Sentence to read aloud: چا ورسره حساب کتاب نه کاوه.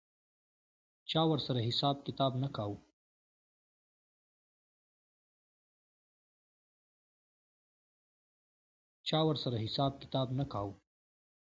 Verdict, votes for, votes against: rejected, 1, 2